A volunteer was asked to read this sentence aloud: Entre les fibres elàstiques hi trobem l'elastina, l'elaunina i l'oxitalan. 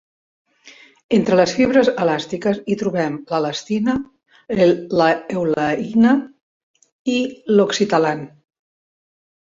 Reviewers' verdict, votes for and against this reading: rejected, 0, 2